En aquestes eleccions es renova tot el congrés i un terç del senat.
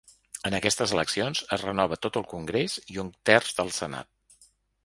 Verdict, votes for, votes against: accepted, 3, 0